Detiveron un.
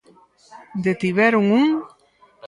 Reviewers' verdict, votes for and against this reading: accepted, 4, 0